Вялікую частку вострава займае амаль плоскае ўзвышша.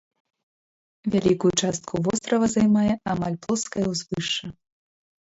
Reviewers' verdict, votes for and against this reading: rejected, 0, 2